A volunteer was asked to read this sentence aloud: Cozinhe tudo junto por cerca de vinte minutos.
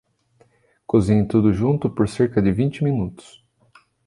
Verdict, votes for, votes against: accepted, 2, 0